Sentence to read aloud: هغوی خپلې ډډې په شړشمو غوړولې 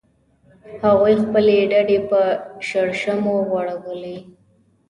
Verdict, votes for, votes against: accepted, 2, 0